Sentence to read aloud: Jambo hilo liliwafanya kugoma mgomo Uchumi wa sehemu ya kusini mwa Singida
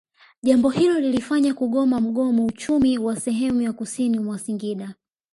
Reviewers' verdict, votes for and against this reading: accepted, 2, 1